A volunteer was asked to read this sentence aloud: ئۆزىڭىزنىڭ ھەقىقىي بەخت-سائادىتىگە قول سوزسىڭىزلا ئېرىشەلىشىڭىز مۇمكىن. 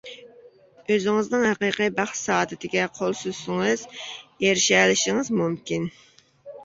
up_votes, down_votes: 0, 2